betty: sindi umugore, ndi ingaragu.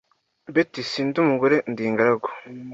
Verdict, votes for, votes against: accepted, 2, 0